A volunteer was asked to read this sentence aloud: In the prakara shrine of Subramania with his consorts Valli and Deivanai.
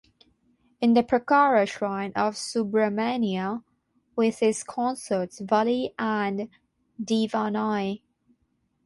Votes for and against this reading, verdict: 6, 0, accepted